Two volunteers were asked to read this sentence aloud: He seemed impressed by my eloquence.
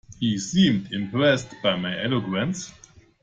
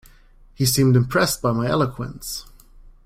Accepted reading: second